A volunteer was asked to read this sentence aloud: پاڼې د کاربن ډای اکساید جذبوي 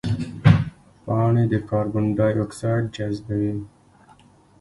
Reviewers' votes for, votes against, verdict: 3, 2, accepted